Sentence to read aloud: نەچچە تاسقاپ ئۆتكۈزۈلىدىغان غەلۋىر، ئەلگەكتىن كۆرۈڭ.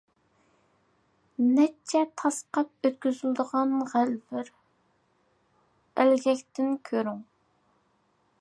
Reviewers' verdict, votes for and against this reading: accepted, 2, 0